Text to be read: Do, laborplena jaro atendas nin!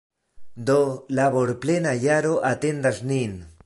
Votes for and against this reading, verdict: 2, 0, accepted